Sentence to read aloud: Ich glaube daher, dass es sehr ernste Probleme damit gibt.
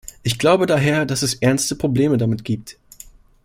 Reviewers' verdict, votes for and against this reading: rejected, 1, 2